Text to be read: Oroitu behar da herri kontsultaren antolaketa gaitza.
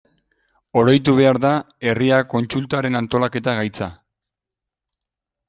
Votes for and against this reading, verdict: 0, 2, rejected